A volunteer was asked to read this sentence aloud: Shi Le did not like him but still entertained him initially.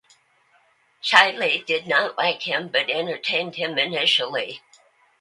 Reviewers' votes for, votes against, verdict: 0, 2, rejected